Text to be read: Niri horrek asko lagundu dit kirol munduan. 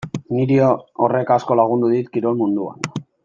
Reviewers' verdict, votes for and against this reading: rejected, 0, 2